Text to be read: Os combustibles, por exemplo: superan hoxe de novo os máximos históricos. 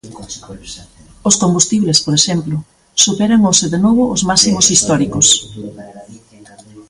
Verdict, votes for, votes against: rejected, 1, 2